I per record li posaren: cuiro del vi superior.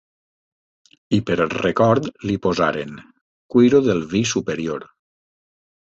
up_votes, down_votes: 2, 0